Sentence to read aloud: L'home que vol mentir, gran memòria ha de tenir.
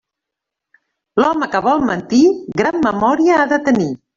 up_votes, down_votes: 1, 2